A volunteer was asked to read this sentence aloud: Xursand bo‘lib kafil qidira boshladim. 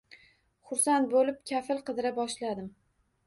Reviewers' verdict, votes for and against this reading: accepted, 2, 0